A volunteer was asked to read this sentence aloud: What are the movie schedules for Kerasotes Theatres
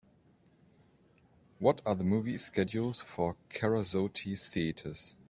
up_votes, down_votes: 2, 0